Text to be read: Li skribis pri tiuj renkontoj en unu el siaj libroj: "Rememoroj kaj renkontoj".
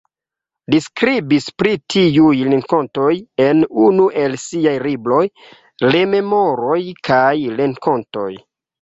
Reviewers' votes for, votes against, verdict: 1, 2, rejected